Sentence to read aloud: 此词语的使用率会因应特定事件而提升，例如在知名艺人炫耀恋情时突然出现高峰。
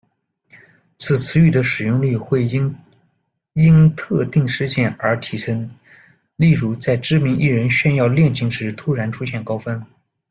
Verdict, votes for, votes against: rejected, 0, 2